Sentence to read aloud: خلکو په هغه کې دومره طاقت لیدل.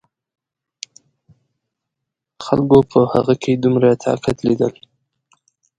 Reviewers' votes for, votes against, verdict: 2, 0, accepted